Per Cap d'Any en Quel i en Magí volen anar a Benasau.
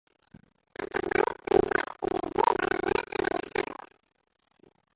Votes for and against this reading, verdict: 0, 2, rejected